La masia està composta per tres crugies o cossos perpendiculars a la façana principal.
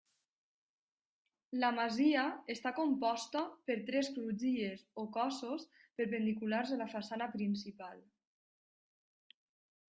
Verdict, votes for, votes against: rejected, 1, 2